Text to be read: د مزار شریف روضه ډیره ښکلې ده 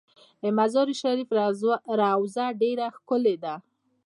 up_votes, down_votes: 2, 1